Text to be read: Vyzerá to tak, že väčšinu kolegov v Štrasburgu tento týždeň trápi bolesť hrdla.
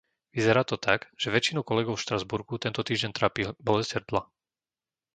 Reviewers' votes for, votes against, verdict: 0, 2, rejected